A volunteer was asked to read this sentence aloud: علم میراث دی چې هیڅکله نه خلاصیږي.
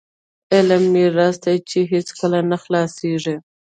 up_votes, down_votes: 2, 0